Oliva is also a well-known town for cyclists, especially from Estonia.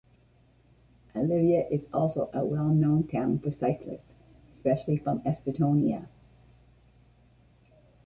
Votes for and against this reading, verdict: 0, 2, rejected